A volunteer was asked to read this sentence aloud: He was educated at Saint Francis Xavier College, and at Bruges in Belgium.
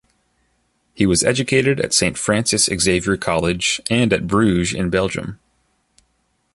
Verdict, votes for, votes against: accepted, 2, 0